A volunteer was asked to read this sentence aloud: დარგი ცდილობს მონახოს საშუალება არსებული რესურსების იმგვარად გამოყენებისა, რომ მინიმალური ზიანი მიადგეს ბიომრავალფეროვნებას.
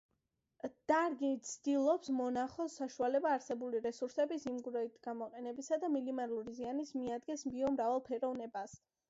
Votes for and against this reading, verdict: 0, 2, rejected